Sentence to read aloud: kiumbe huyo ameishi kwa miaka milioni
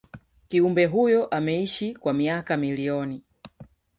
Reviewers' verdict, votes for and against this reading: rejected, 0, 2